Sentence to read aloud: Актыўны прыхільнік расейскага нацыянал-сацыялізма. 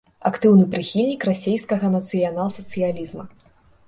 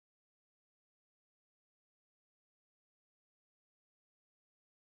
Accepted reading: first